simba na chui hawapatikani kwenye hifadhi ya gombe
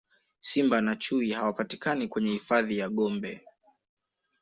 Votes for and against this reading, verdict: 2, 0, accepted